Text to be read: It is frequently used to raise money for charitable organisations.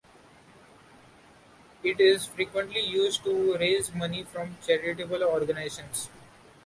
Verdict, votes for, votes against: accepted, 2, 1